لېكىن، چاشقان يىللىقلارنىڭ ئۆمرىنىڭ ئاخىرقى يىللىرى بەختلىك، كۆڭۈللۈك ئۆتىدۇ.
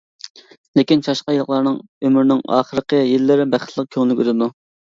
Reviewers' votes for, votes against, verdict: 2, 1, accepted